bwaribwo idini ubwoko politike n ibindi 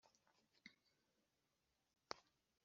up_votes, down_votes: 1, 2